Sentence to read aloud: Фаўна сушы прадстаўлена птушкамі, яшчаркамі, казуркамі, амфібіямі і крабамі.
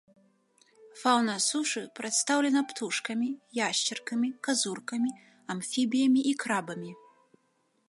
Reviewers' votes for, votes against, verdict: 3, 0, accepted